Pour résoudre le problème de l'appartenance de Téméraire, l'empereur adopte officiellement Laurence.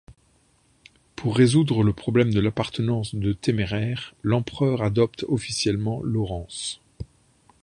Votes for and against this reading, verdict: 2, 0, accepted